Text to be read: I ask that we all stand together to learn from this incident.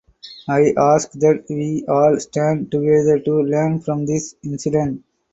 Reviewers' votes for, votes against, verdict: 2, 0, accepted